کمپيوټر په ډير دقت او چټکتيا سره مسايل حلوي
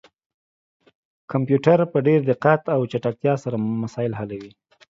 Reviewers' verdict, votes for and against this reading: accepted, 2, 0